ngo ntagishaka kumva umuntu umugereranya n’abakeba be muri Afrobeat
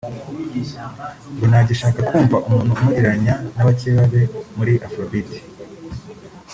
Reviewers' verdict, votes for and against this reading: accepted, 2, 0